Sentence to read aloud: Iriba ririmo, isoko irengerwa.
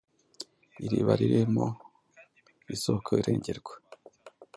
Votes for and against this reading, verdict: 2, 0, accepted